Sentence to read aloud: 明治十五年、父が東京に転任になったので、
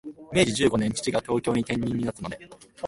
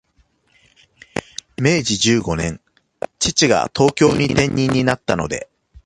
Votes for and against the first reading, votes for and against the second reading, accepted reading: 1, 2, 2, 0, second